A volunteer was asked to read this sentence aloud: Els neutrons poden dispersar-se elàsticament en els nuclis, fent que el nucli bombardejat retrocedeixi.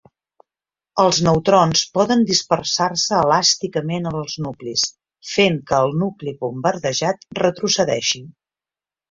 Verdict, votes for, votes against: accepted, 2, 0